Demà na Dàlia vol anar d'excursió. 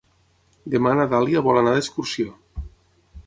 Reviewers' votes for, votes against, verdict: 6, 0, accepted